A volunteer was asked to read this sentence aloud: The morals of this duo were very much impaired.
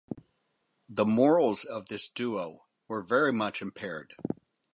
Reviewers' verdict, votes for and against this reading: rejected, 2, 2